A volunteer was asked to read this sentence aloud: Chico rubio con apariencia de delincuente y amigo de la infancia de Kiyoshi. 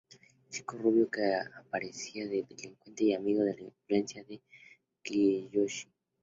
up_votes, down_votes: 2, 0